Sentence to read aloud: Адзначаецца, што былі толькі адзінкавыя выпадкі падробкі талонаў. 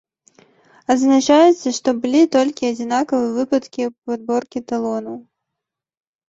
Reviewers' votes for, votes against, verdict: 1, 2, rejected